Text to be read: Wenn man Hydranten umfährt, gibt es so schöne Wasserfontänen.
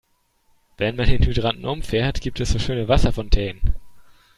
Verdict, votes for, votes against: rejected, 1, 2